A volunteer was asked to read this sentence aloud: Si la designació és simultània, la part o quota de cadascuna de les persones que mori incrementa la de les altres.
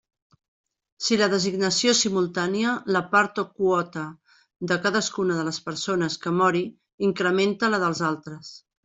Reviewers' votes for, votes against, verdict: 1, 2, rejected